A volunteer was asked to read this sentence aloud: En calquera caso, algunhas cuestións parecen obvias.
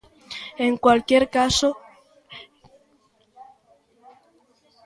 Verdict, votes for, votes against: rejected, 0, 2